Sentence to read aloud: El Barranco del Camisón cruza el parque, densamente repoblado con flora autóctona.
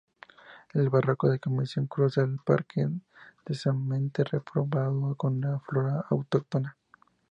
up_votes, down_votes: 2, 0